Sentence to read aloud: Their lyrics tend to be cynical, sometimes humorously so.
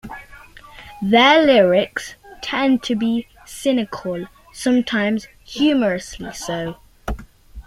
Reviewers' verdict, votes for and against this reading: accepted, 2, 1